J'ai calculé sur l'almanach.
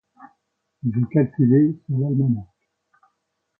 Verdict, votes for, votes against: rejected, 0, 2